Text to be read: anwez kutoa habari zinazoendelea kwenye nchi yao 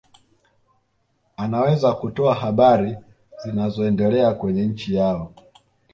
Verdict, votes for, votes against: accepted, 2, 0